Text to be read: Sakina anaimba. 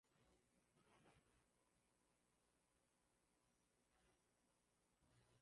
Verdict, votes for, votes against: rejected, 1, 3